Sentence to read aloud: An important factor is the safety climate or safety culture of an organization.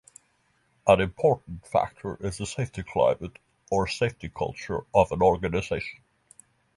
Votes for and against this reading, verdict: 3, 0, accepted